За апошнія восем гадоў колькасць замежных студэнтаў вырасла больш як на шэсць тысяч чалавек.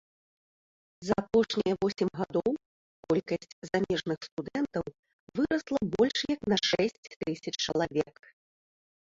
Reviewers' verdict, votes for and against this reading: accepted, 2, 1